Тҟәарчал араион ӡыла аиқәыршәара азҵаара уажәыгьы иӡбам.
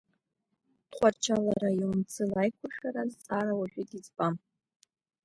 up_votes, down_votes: 2, 0